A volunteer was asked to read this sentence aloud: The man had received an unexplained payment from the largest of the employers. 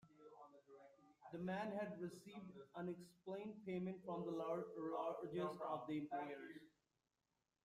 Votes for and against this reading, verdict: 0, 2, rejected